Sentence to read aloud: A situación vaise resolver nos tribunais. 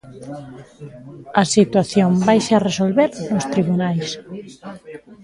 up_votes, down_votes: 1, 2